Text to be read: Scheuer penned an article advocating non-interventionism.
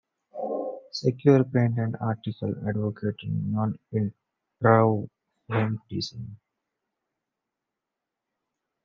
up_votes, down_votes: 1, 2